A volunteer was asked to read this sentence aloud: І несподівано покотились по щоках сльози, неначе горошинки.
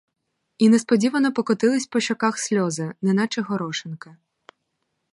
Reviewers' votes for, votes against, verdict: 2, 2, rejected